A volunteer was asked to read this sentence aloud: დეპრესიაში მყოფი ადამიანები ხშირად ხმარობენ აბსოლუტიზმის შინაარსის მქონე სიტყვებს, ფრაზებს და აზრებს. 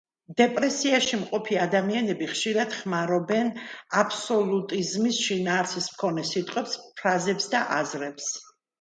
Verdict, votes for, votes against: accepted, 2, 0